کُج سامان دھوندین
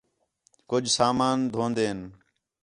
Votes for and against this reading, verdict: 4, 0, accepted